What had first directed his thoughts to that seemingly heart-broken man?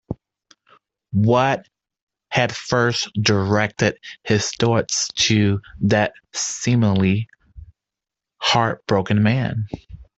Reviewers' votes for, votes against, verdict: 0, 2, rejected